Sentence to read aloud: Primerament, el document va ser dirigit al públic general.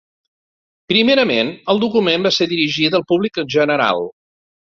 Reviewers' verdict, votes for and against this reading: rejected, 2, 3